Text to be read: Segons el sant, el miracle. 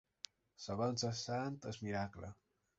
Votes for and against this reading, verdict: 0, 2, rejected